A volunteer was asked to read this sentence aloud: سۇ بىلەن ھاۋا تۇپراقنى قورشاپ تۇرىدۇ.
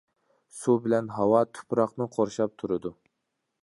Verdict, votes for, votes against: accepted, 2, 0